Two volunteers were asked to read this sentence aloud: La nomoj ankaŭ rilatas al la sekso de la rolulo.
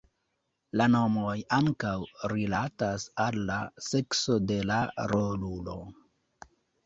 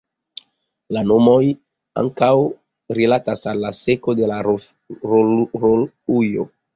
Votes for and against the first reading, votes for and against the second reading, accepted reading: 2, 1, 0, 2, first